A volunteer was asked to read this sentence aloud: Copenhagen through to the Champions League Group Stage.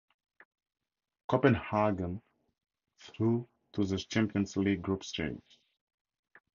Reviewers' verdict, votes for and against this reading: rejected, 2, 2